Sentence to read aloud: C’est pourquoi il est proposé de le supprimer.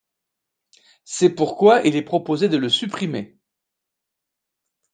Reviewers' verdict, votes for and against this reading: accepted, 2, 0